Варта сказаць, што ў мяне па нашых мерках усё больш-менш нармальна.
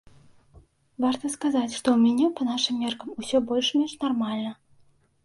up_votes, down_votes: 1, 2